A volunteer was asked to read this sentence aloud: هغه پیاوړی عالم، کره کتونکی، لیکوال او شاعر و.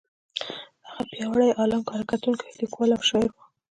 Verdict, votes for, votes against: accepted, 2, 0